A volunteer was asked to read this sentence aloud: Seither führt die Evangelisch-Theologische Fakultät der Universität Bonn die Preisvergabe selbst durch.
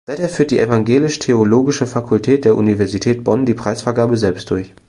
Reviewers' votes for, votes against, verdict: 2, 0, accepted